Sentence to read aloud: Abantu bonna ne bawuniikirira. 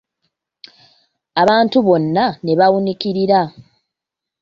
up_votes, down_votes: 1, 2